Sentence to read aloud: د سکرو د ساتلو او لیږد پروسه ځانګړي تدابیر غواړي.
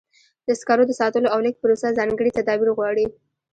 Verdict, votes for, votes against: accepted, 2, 1